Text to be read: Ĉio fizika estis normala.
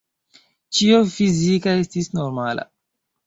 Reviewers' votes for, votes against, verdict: 0, 2, rejected